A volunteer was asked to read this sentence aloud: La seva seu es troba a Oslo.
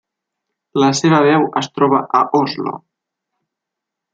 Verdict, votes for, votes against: rejected, 0, 2